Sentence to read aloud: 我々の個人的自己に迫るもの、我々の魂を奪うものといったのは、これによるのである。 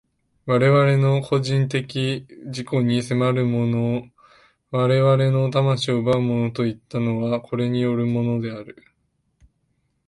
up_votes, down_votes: 0, 2